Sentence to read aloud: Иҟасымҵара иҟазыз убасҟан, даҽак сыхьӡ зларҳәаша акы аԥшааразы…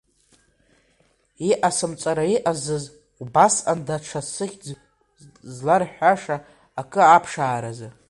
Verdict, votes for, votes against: accepted, 2, 1